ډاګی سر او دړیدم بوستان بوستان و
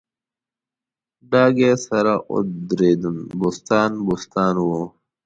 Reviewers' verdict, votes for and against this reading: rejected, 1, 2